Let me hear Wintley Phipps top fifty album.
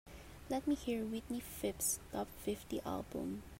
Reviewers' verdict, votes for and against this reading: accepted, 4, 0